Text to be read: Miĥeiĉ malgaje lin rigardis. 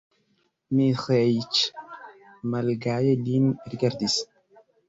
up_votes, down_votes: 1, 2